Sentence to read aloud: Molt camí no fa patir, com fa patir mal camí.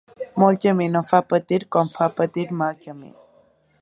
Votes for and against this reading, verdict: 2, 0, accepted